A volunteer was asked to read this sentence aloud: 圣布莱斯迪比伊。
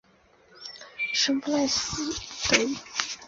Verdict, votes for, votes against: rejected, 0, 2